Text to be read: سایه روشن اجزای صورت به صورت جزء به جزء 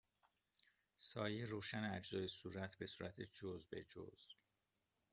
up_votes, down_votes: 2, 0